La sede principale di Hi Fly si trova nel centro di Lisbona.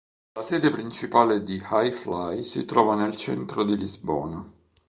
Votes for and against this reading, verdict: 3, 0, accepted